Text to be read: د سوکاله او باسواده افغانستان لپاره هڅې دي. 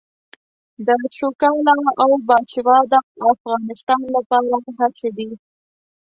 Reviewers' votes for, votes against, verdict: 1, 2, rejected